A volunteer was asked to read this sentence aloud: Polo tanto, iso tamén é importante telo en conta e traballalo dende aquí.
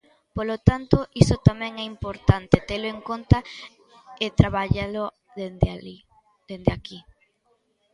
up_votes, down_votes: 0, 2